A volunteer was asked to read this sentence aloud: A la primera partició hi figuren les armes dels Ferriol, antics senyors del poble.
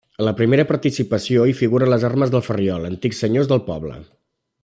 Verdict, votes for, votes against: rejected, 1, 2